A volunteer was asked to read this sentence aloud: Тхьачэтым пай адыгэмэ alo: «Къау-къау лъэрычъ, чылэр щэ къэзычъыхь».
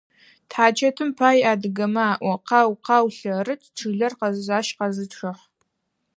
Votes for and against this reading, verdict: 0, 4, rejected